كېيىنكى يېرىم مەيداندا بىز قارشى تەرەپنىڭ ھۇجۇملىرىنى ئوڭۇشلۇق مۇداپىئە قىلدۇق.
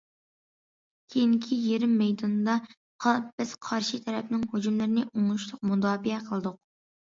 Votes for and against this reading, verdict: 0, 2, rejected